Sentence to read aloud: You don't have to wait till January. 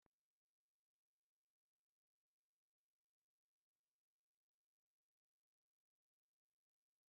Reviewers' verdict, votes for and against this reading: rejected, 1, 2